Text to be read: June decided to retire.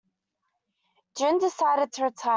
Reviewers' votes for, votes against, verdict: 0, 2, rejected